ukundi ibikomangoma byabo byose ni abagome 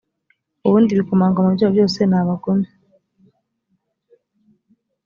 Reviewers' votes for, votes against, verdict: 0, 2, rejected